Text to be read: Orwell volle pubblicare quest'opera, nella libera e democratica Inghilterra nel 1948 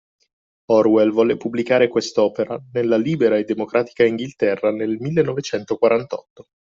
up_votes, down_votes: 0, 2